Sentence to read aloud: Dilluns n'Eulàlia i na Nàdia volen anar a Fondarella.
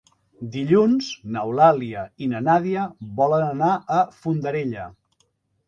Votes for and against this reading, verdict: 3, 0, accepted